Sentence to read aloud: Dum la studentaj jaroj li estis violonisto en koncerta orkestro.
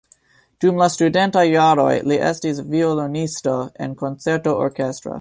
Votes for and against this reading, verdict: 2, 0, accepted